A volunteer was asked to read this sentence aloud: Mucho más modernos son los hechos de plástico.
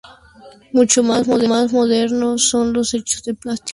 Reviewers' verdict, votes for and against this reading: rejected, 0, 2